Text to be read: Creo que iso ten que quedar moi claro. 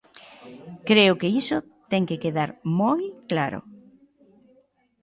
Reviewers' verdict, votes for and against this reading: accepted, 2, 0